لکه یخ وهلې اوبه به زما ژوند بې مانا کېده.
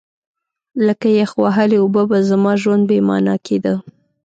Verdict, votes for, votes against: accepted, 2, 0